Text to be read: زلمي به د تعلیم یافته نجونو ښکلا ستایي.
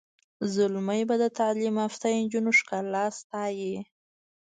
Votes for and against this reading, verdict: 2, 0, accepted